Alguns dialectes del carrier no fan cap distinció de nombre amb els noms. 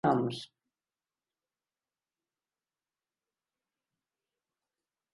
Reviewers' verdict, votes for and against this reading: rejected, 0, 2